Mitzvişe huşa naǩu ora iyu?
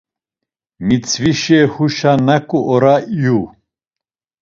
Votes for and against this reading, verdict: 2, 0, accepted